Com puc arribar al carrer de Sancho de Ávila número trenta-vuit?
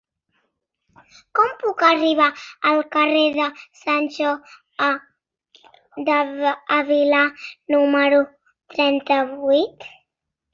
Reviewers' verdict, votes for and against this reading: rejected, 0, 2